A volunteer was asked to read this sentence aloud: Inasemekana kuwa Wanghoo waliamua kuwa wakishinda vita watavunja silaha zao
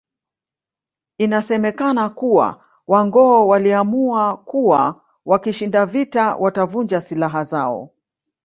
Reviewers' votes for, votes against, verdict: 1, 2, rejected